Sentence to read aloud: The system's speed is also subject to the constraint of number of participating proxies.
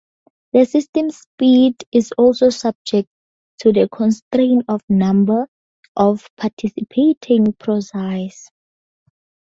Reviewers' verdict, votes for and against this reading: accepted, 4, 2